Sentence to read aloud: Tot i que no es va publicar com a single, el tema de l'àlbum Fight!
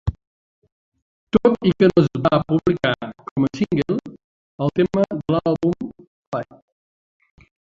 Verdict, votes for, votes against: rejected, 0, 2